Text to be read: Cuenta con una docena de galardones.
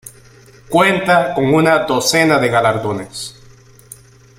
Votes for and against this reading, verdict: 2, 0, accepted